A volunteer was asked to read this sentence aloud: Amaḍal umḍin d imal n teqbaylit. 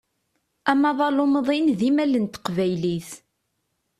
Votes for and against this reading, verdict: 2, 0, accepted